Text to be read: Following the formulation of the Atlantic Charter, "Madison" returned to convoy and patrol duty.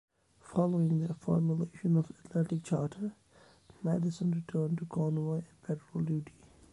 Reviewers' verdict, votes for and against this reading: rejected, 0, 2